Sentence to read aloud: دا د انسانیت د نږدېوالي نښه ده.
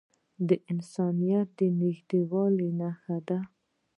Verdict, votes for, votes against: accepted, 2, 0